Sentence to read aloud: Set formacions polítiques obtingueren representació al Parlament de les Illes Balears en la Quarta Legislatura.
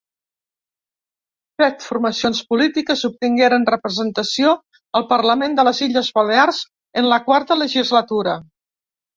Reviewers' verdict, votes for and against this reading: accepted, 2, 0